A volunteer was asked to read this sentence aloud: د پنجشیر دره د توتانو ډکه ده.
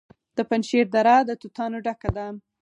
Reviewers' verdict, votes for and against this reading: rejected, 2, 4